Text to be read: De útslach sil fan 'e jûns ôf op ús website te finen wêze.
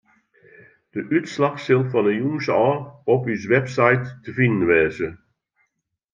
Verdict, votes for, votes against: accepted, 2, 0